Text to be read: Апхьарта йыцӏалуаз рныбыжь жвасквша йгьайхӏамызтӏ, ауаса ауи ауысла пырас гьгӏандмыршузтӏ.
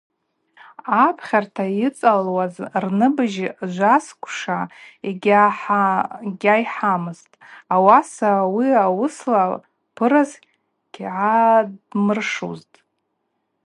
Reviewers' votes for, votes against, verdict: 0, 2, rejected